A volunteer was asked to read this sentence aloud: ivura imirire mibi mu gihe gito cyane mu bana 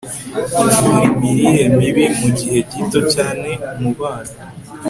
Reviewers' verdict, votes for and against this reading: accepted, 2, 0